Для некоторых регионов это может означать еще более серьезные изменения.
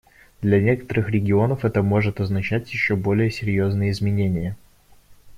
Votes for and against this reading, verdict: 1, 2, rejected